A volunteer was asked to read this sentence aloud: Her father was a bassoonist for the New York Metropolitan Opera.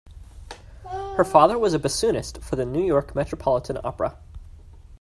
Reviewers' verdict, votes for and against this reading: accepted, 2, 0